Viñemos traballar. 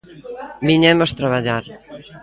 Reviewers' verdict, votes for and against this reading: accepted, 2, 0